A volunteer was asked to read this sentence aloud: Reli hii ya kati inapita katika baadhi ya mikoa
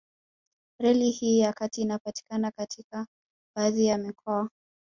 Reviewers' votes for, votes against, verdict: 4, 1, accepted